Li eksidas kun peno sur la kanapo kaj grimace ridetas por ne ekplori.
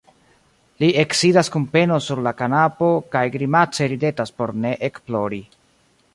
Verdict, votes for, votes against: accepted, 2, 0